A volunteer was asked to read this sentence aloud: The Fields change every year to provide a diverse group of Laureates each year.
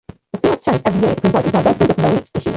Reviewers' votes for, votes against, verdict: 0, 2, rejected